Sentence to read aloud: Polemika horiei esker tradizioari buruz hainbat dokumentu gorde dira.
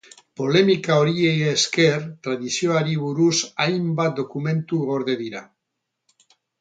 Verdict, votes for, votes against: rejected, 0, 2